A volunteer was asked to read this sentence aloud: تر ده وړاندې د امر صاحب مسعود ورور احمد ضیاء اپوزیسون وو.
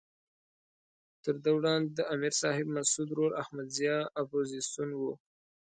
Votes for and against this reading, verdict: 2, 0, accepted